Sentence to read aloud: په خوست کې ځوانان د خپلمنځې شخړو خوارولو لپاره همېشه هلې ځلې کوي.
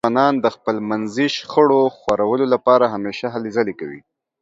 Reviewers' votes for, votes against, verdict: 1, 2, rejected